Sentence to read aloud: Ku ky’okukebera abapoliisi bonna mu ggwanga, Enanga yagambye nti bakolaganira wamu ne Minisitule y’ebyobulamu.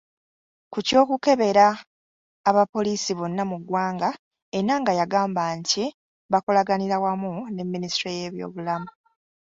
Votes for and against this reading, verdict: 0, 2, rejected